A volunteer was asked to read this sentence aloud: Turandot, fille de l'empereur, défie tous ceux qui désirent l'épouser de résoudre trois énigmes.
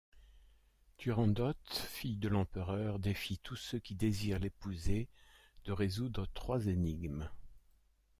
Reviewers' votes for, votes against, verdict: 0, 2, rejected